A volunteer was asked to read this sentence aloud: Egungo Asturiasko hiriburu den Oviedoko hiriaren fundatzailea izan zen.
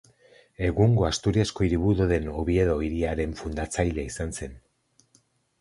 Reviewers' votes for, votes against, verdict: 0, 4, rejected